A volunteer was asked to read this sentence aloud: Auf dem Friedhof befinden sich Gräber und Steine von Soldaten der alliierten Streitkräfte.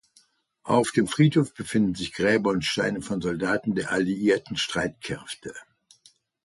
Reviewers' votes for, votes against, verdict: 2, 0, accepted